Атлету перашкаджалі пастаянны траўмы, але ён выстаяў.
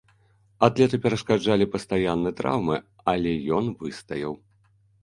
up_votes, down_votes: 2, 0